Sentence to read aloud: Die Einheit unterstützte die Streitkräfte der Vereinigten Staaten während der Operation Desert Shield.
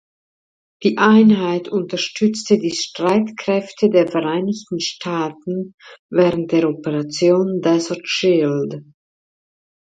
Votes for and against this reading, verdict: 2, 0, accepted